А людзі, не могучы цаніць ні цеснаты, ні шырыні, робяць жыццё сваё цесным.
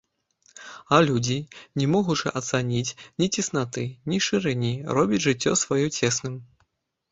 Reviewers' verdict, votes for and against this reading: rejected, 1, 2